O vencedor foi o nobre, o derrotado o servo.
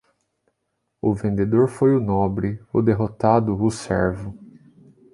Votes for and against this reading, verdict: 1, 2, rejected